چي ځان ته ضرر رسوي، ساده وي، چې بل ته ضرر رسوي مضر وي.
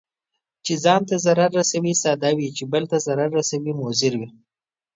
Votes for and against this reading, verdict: 2, 0, accepted